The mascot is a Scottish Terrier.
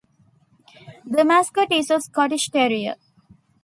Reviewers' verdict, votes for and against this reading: accepted, 2, 0